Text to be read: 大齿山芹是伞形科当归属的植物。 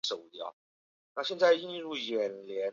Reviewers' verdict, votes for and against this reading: rejected, 2, 3